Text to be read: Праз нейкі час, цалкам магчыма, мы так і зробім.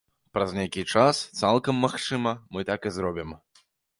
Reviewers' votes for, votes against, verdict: 2, 0, accepted